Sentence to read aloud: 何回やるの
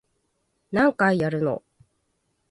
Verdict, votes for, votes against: accepted, 2, 0